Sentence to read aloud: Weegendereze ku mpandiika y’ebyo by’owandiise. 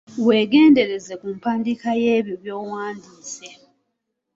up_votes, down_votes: 2, 1